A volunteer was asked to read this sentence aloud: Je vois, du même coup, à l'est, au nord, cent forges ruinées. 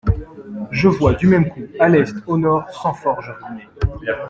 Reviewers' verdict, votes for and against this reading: rejected, 0, 2